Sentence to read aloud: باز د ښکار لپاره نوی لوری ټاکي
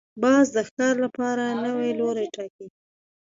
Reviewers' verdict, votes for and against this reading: accepted, 2, 0